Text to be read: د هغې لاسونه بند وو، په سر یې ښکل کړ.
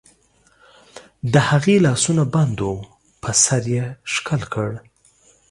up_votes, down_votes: 2, 1